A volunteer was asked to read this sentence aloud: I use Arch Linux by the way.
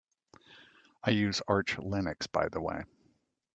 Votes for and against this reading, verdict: 2, 0, accepted